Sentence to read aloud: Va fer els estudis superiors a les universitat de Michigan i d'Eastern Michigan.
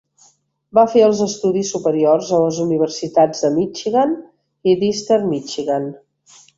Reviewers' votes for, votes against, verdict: 2, 0, accepted